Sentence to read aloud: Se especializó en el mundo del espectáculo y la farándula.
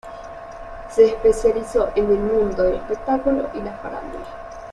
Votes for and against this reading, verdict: 2, 1, accepted